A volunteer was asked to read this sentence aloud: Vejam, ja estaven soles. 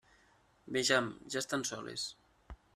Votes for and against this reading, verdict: 1, 2, rejected